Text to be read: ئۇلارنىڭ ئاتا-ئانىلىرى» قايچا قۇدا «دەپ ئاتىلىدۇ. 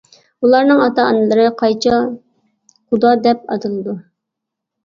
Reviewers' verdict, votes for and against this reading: accepted, 2, 0